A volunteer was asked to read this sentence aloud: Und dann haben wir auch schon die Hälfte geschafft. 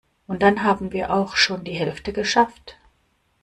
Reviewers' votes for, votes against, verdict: 2, 0, accepted